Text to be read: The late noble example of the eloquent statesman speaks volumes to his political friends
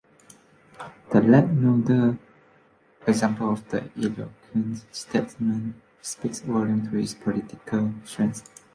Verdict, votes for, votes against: rejected, 0, 2